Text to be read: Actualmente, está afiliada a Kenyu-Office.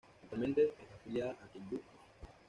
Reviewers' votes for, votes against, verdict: 0, 2, rejected